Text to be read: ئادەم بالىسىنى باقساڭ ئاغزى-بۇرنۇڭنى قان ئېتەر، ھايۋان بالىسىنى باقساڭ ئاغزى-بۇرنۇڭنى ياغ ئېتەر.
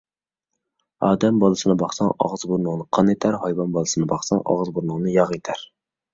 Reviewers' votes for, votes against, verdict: 2, 0, accepted